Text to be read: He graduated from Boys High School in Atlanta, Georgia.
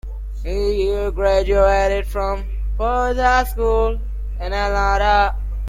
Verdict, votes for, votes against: rejected, 0, 2